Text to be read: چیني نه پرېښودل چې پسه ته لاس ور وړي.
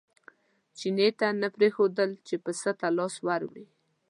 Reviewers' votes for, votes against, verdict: 2, 0, accepted